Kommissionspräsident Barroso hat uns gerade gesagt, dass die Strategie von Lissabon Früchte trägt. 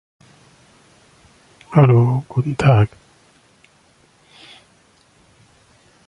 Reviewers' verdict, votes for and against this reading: rejected, 0, 2